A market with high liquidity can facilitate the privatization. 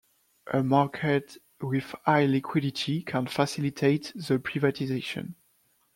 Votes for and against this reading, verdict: 0, 2, rejected